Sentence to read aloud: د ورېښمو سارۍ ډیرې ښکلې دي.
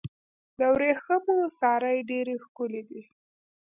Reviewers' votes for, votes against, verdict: 1, 2, rejected